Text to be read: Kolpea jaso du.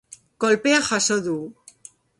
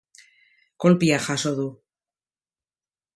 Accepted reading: first